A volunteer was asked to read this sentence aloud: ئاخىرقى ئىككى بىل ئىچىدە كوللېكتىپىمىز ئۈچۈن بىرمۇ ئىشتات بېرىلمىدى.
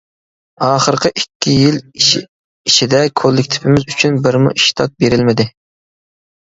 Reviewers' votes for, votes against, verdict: 1, 2, rejected